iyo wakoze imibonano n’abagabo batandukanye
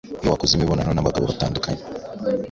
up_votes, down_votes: 2, 0